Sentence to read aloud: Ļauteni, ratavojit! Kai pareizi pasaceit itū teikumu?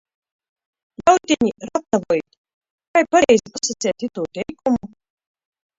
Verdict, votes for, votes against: rejected, 0, 2